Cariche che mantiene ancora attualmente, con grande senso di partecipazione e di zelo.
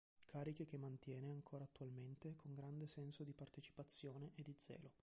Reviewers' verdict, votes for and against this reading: rejected, 0, 2